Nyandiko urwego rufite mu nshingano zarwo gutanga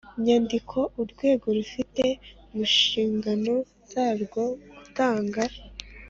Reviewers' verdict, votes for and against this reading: accepted, 3, 0